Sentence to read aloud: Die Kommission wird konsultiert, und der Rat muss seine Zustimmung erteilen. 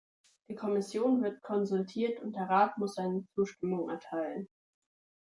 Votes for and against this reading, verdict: 2, 0, accepted